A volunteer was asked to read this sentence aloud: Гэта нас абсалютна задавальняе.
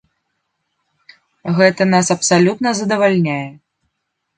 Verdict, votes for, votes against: accepted, 2, 0